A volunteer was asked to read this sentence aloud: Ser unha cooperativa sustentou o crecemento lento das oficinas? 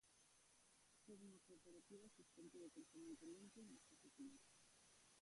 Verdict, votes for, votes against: rejected, 0, 2